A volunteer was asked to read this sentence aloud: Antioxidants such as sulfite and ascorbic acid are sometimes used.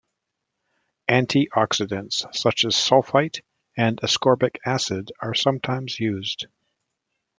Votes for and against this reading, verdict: 2, 0, accepted